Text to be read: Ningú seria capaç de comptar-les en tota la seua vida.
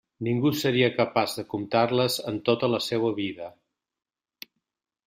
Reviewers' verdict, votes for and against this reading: accepted, 2, 1